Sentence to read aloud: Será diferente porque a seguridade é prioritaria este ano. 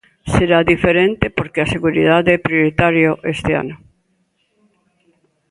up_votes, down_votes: 1, 2